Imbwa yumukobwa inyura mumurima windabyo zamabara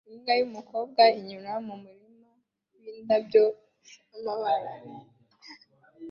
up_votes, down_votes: 2, 0